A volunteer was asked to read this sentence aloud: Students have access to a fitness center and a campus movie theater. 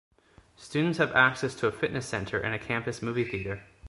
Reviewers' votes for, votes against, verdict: 2, 0, accepted